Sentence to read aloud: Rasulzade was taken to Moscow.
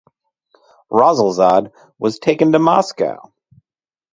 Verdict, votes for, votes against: accepted, 4, 0